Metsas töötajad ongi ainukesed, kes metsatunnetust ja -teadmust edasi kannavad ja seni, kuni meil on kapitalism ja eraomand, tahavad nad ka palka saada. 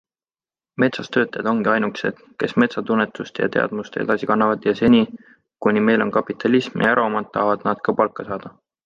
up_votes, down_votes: 2, 0